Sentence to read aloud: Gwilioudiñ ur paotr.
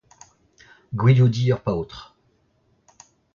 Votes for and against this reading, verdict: 2, 1, accepted